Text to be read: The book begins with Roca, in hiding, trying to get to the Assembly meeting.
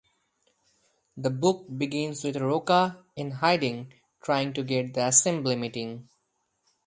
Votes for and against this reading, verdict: 0, 4, rejected